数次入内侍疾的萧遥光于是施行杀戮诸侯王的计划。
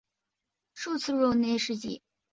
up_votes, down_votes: 0, 4